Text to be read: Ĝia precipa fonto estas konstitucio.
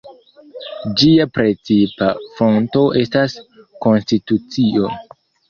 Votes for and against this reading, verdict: 2, 0, accepted